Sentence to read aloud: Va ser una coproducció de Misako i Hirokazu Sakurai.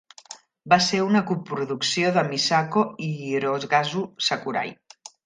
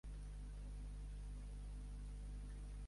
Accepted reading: first